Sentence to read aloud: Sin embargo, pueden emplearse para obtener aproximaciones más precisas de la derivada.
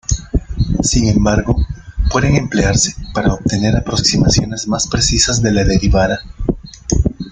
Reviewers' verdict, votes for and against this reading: rejected, 1, 2